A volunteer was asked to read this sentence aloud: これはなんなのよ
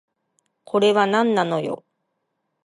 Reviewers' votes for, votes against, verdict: 2, 0, accepted